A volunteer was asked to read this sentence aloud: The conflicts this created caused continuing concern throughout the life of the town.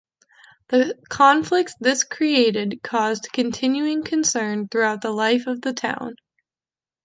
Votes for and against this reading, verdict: 2, 0, accepted